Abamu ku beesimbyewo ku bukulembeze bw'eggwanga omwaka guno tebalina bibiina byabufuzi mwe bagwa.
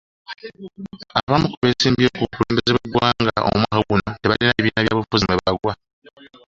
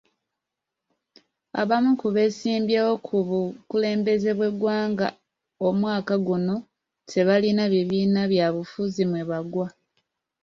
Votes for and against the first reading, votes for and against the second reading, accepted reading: 1, 2, 2, 0, second